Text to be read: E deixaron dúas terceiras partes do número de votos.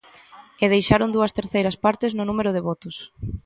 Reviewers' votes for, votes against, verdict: 0, 2, rejected